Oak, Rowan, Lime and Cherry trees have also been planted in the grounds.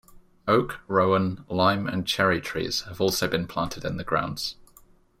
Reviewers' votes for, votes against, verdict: 2, 0, accepted